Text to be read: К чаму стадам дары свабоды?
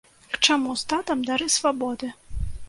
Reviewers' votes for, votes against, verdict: 0, 2, rejected